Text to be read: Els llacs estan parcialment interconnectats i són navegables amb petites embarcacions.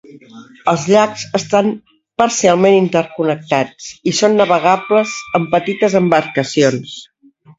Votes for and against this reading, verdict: 2, 1, accepted